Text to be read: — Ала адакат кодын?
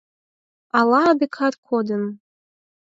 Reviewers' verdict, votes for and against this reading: accepted, 4, 0